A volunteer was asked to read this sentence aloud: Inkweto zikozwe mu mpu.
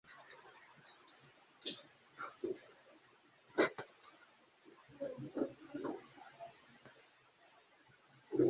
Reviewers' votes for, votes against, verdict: 0, 2, rejected